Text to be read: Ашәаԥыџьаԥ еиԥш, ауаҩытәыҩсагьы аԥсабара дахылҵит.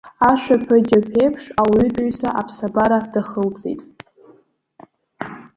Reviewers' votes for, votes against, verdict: 1, 2, rejected